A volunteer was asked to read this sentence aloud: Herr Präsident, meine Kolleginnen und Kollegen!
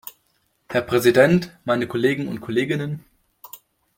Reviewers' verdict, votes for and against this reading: rejected, 0, 2